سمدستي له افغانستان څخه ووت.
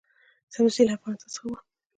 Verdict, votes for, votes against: rejected, 0, 2